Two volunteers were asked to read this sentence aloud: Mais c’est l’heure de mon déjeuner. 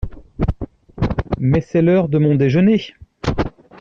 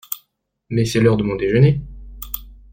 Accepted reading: second